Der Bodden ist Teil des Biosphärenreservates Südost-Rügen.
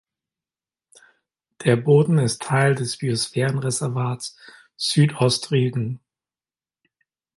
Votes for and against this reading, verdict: 1, 2, rejected